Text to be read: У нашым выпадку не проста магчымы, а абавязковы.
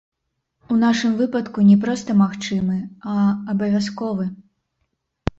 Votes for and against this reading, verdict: 0, 2, rejected